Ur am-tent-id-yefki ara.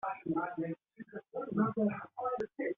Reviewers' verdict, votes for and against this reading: rejected, 0, 2